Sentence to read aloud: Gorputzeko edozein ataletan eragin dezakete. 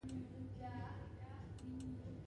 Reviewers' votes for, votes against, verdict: 0, 2, rejected